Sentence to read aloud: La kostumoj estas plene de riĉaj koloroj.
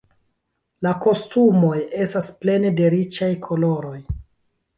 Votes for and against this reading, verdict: 0, 2, rejected